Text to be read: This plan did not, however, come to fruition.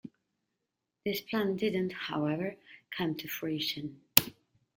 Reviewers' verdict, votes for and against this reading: rejected, 0, 2